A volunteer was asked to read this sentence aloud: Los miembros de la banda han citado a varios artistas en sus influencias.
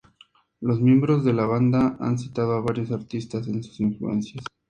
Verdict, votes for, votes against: accepted, 2, 0